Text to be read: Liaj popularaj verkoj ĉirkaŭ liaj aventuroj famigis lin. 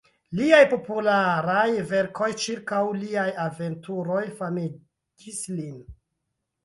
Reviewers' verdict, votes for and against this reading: rejected, 0, 2